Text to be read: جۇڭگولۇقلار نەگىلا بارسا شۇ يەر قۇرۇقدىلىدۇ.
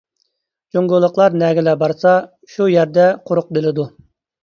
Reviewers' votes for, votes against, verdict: 1, 2, rejected